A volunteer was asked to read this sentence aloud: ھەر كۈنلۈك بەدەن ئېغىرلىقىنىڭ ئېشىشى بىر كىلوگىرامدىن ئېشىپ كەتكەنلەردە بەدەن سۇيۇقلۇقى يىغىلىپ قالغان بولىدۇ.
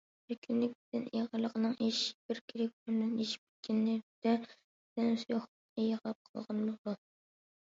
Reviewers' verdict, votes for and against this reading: rejected, 0, 2